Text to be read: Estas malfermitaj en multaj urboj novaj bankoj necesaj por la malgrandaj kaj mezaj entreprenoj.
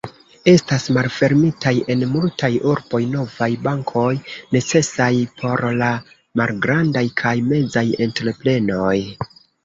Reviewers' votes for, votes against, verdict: 1, 2, rejected